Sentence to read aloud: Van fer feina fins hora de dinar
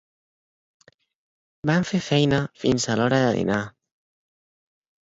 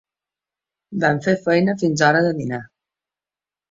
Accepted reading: second